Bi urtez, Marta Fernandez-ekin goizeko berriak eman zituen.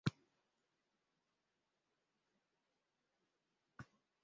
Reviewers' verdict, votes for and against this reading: rejected, 0, 2